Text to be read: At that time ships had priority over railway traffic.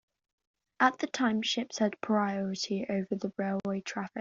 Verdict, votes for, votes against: rejected, 0, 2